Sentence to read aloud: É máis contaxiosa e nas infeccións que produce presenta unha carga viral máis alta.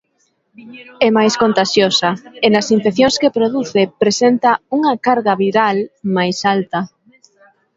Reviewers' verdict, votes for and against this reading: accepted, 3, 1